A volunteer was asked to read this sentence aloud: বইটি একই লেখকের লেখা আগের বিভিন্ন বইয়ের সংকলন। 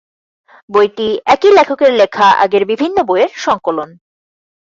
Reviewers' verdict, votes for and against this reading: rejected, 0, 4